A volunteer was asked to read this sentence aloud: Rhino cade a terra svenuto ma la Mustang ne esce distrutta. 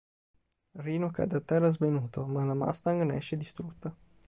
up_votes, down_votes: 3, 0